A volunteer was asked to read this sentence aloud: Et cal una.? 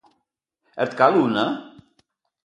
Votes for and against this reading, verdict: 2, 0, accepted